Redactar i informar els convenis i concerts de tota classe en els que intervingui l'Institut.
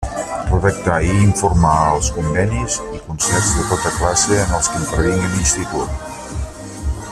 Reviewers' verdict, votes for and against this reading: rejected, 0, 2